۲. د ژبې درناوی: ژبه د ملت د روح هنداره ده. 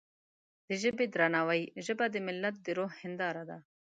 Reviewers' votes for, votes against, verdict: 0, 2, rejected